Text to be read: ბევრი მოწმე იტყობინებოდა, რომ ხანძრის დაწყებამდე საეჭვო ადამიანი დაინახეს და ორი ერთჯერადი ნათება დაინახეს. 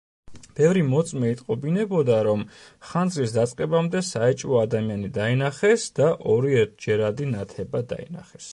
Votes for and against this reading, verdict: 2, 0, accepted